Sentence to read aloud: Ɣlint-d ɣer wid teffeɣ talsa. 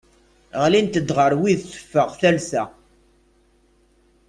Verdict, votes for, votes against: accepted, 2, 0